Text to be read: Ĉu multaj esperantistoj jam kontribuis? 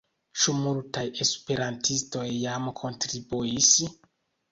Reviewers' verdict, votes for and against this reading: accepted, 2, 0